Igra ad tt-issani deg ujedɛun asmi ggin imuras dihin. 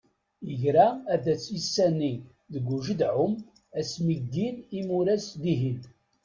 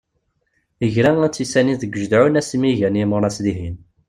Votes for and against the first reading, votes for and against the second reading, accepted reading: 0, 2, 2, 0, second